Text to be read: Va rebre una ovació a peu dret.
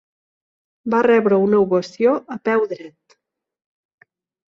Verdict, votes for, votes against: accepted, 2, 0